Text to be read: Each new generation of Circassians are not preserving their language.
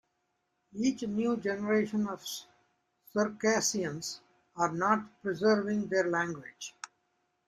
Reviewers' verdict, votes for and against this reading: accepted, 3, 1